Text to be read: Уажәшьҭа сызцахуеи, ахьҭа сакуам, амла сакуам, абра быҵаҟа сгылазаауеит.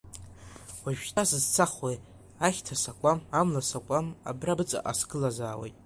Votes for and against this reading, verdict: 2, 1, accepted